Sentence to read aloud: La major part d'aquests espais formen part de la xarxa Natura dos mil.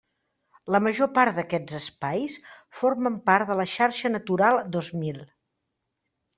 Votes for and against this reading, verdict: 0, 2, rejected